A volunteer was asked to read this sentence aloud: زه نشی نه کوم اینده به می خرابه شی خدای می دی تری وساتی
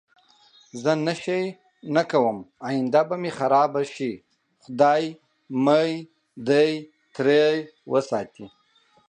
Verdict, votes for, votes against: rejected, 0, 4